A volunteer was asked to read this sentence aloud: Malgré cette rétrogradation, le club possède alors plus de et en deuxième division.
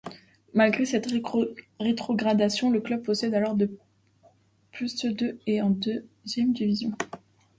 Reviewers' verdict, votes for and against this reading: rejected, 1, 2